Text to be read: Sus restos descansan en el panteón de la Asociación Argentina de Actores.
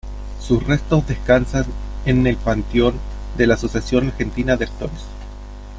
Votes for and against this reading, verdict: 2, 1, accepted